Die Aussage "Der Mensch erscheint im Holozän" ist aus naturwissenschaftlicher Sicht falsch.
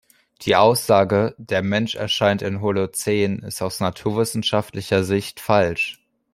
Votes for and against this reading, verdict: 2, 0, accepted